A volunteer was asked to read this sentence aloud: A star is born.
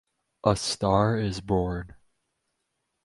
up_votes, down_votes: 4, 0